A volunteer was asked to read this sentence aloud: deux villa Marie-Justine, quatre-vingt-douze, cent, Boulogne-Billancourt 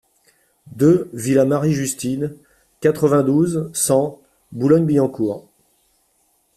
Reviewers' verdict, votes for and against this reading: accepted, 2, 0